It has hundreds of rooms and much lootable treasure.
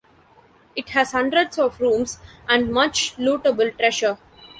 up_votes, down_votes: 2, 0